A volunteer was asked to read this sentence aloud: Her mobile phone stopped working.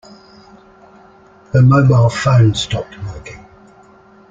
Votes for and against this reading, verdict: 0, 2, rejected